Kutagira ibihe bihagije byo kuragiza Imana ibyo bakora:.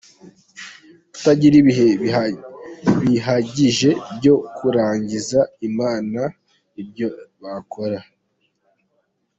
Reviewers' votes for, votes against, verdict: 0, 2, rejected